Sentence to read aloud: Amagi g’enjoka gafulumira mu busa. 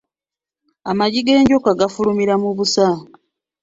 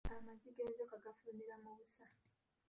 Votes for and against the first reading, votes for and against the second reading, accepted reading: 2, 1, 0, 2, first